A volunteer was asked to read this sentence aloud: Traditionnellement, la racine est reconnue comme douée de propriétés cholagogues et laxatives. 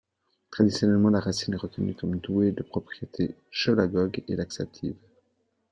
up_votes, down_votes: 2, 0